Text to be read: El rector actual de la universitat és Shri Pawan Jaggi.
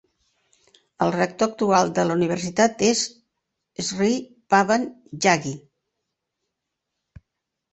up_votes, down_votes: 2, 0